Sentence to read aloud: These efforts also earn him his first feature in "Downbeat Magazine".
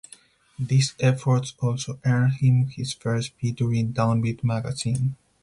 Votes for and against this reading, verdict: 0, 4, rejected